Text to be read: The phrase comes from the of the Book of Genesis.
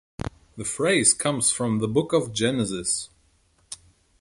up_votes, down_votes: 1, 2